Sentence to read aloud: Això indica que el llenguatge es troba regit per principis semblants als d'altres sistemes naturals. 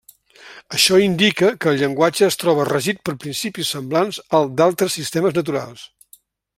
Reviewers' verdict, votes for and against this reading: rejected, 1, 2